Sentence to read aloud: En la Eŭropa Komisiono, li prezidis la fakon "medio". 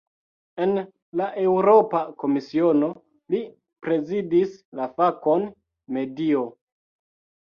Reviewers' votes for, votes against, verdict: 2, 0, accepted